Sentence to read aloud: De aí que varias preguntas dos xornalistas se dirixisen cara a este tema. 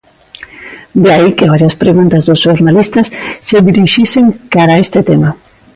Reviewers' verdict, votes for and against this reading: accepted, 2, 0